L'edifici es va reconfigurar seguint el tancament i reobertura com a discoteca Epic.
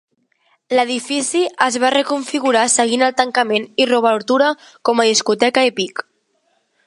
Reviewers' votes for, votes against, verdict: 2, 0, accepted